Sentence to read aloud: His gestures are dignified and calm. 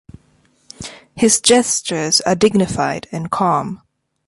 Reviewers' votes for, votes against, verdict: 2, 0, accepted